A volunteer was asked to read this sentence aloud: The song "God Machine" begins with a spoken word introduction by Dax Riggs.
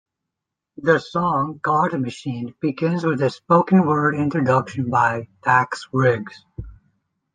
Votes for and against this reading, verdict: 2, 0, accepted